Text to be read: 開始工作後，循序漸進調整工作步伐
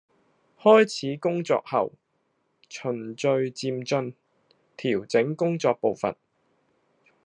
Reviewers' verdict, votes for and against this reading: accepted, 2, 0